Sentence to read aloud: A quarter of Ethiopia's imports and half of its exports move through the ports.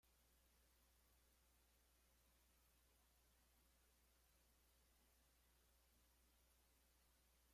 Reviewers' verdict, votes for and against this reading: rejected, 0, 2